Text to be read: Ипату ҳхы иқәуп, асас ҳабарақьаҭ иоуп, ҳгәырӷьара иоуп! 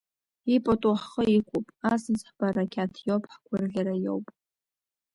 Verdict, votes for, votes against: accepted, 2, 0